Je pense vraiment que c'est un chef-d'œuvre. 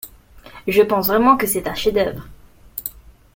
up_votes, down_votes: 2, 0